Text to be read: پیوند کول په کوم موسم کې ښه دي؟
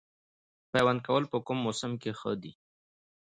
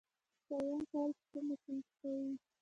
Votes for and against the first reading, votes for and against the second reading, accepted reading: 2, 0, 0, 2, first